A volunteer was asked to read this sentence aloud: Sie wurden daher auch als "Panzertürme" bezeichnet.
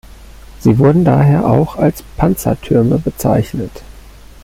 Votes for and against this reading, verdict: 2, 0, accepted